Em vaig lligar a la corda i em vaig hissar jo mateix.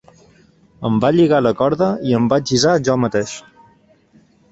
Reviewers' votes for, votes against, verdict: 0, 2, rejected